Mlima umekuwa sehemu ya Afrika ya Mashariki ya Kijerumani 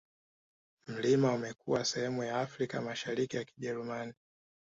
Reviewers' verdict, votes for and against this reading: accepted, 2, 0